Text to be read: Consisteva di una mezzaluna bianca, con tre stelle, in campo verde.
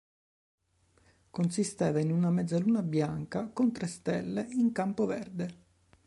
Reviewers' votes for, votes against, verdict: 1, 2, rejected